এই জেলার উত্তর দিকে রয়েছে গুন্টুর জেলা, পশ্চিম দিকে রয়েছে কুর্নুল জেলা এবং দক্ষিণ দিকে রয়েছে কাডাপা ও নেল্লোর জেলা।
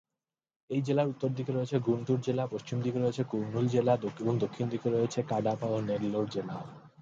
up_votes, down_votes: 2, 0